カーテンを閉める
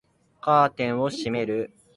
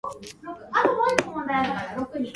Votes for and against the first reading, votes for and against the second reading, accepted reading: 3, 0, 0, 6, first